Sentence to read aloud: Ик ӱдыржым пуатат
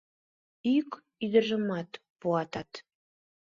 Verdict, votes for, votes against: rejected, 1, 2